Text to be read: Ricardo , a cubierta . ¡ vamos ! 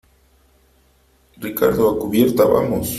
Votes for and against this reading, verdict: 2, 1, accepted